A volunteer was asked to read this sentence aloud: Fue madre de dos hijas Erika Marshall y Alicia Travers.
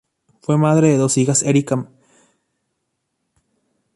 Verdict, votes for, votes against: rejected, 0, 2